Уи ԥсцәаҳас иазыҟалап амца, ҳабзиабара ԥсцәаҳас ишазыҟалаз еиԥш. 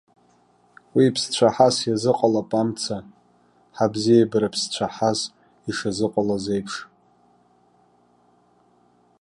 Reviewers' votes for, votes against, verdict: 1, 2, rejected